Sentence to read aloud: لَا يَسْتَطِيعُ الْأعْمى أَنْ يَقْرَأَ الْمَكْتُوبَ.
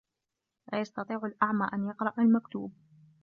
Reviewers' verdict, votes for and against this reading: accepted, 2, 0